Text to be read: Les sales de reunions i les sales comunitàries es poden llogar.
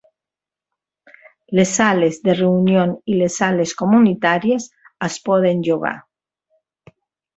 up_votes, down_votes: 2, 0